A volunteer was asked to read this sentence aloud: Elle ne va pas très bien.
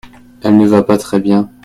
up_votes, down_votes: 2, 0